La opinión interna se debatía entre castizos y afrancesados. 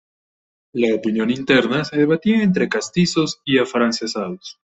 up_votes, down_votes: 1, 2